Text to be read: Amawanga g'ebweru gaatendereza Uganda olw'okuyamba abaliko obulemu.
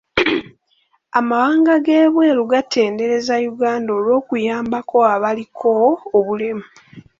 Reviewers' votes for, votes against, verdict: 1, 2, rejected